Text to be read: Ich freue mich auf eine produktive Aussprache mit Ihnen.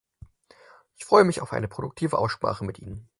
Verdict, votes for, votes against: accepted, 4, 0